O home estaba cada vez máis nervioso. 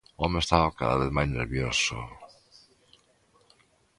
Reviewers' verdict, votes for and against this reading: accepted, 2, 0